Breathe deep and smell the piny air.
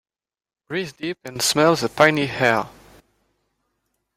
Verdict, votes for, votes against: rejected, 0, 2